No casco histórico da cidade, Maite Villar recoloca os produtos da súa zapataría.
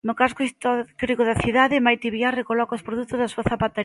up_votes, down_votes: 0, 2